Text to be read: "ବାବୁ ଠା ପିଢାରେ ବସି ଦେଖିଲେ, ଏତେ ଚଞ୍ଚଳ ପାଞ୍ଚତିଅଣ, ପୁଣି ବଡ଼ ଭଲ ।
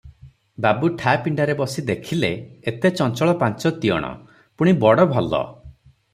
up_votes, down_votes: 0, 3